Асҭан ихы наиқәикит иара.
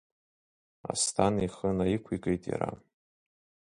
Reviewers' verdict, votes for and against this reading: accepted, 2, 1